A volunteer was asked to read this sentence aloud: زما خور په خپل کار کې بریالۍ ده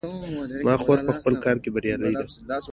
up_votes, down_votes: 2, 0